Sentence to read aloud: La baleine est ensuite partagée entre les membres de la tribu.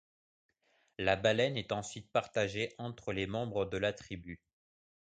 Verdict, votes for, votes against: accepted, 2, 0